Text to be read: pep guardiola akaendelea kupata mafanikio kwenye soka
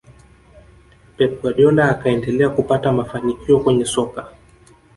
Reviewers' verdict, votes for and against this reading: rejected, 0, 2